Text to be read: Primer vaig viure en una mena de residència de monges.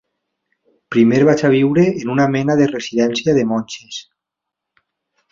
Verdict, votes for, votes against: rejected, 0, 2